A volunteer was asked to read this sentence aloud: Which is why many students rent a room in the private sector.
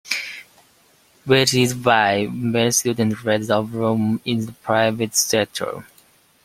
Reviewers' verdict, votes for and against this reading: rejected, 1, 2